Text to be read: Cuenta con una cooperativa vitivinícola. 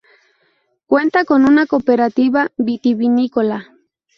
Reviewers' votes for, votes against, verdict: 0, 2, rejected